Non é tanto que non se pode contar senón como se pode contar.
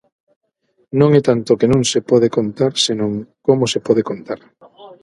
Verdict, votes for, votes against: rejected, 0, 6